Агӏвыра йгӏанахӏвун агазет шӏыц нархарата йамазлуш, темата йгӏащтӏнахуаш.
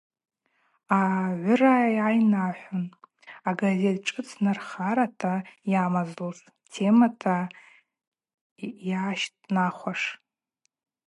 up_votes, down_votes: 2, 2